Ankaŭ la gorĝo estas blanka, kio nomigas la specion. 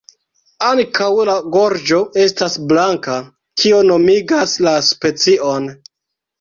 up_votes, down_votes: 2, 1